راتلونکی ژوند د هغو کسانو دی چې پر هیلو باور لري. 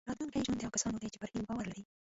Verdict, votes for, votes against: rejected, 0, 2